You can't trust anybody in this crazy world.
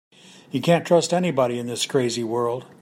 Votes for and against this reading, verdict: 2, 0, accepted